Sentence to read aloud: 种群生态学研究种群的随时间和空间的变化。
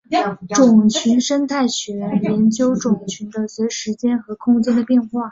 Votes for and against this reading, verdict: 4, 0, accepted